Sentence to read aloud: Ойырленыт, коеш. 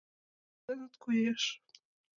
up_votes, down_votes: 0, 2